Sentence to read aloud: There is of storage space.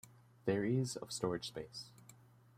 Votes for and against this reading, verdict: 2, 0, accepted